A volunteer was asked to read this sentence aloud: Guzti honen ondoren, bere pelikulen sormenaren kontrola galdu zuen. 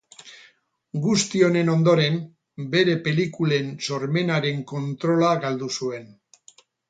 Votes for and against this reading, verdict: 2, 2, rejected